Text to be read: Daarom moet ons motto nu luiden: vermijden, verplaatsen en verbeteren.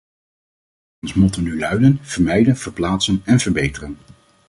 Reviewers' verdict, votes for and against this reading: rejected, 0, 2